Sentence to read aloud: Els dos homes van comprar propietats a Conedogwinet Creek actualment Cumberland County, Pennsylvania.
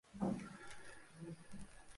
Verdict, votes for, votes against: rejected, 0, 2